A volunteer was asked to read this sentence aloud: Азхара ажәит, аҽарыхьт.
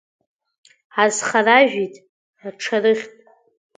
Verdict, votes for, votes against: rejected, 1, 2